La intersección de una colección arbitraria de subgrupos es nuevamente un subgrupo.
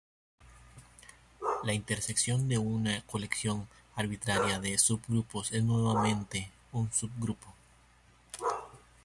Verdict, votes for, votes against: rejected, 1, 2